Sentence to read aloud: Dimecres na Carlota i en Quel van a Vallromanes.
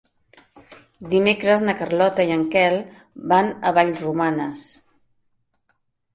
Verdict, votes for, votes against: accepted, 2, 0